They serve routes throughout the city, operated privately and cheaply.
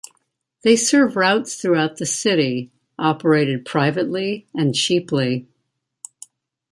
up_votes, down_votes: 2, 0